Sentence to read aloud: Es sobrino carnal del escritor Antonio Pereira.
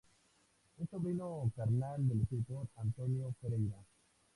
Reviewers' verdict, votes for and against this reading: accepted, 2, 0